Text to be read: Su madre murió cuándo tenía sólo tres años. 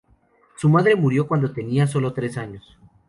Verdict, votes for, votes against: accepted, 4, 0